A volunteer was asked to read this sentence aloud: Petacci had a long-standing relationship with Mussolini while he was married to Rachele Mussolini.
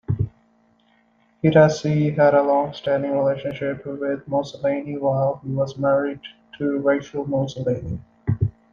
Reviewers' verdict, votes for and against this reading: rejected, 1, 2